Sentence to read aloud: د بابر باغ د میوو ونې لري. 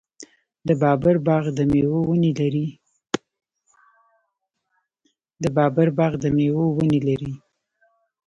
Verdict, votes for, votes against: rejected, 1, 2